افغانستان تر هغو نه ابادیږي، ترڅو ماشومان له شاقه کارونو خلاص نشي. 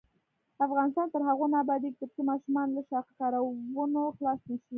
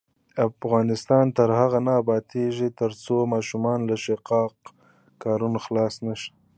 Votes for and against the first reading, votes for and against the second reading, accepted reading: 1, 2, 2, 0, second